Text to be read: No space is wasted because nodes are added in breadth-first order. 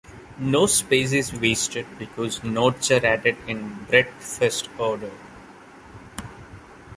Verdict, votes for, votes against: accepted, 2, 0